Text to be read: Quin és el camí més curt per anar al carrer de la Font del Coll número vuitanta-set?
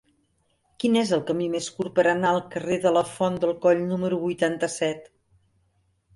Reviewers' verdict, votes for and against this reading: accepted, 3, 0